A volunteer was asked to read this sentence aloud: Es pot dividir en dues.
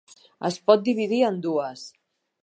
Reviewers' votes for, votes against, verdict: 2, 0, accepted